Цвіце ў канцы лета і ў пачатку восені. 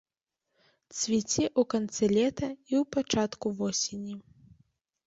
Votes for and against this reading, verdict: 1, 2, rejected